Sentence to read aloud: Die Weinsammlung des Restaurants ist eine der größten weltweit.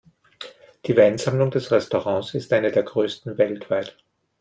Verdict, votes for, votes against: accepted, 2, 0